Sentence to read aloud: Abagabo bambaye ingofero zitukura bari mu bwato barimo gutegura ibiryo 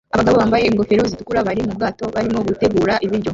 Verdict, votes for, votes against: rejected, 0, 2